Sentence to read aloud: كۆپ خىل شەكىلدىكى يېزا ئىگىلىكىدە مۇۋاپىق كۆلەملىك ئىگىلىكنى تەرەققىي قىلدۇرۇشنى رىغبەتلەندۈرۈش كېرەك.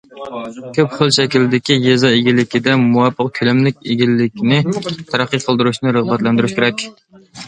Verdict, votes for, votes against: accepted, 2, 0